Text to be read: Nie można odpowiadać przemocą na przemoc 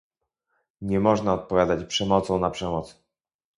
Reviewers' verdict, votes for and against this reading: rejected, 0, 2